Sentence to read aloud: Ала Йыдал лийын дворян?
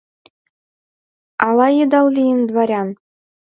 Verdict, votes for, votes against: accepted, 2, 0